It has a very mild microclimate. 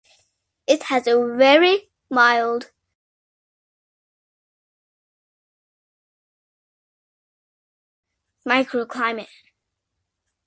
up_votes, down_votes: 2, 0